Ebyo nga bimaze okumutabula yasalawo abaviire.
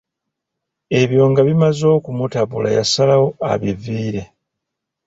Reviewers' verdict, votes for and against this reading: rejected, 1, 2